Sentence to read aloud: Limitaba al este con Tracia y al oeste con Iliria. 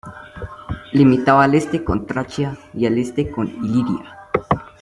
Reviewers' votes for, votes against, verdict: 0, 2, rejected